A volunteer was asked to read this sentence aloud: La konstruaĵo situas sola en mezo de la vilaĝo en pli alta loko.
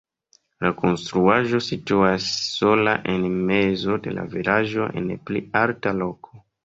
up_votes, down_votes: 2, 0